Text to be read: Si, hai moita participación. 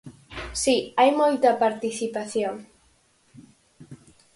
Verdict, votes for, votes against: accepted, 4, 0